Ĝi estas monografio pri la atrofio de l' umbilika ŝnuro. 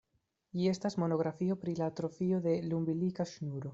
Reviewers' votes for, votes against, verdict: 2, 1, accepted